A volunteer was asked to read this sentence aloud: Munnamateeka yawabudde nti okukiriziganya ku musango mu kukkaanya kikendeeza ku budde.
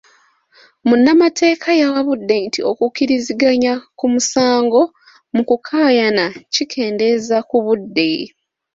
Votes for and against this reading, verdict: 2, 0, accepted